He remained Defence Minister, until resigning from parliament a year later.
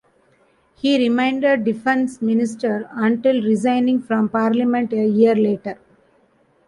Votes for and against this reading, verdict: 2, 0, accepted